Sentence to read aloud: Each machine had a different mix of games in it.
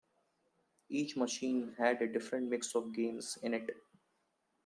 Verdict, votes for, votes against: accepted, 2, 0